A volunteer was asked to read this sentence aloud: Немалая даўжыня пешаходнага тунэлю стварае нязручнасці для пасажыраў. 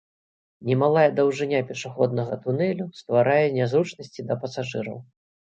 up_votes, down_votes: 1, 2